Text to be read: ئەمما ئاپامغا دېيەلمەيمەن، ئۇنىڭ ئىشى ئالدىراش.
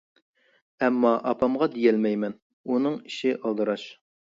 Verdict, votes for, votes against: accepted, 2, 0